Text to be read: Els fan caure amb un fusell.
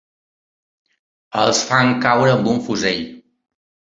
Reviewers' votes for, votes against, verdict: 3, 0, accepted